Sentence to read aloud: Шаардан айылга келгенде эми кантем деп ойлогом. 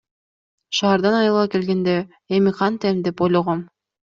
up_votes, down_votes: 2, 0